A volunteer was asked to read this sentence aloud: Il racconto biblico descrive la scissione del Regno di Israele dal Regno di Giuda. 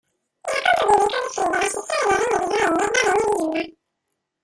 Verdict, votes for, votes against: rejected, 0, 2